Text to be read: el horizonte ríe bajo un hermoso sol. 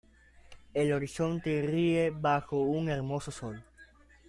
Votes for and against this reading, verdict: 2, 1, accepted